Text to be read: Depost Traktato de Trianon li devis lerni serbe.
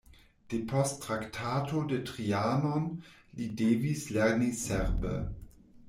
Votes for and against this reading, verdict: 0, 2, rejected